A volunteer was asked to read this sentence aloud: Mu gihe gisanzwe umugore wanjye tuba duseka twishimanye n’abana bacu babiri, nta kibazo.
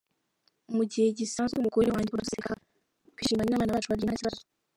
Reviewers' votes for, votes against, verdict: 0, 2, rejected